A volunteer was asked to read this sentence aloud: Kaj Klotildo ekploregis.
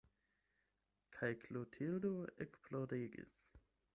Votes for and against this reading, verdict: 8, 0, accepted